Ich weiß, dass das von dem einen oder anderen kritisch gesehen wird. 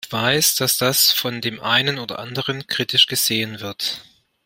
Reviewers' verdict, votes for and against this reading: rejected, 0, 2